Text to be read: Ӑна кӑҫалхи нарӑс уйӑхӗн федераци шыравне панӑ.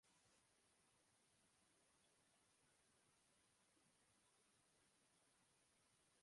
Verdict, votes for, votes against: rejected, 0, 2